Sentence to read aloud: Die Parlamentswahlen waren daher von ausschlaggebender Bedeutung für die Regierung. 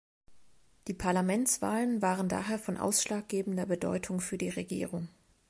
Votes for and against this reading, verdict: 3, 0, accepted